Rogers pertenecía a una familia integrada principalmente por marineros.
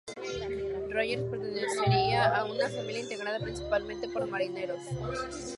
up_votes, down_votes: 0, 2